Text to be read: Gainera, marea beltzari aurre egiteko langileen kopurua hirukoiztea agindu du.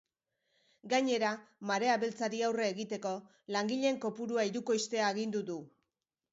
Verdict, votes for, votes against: accepted, 3, 0